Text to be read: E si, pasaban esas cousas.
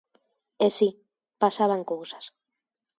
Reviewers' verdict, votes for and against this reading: rejected, 0, 2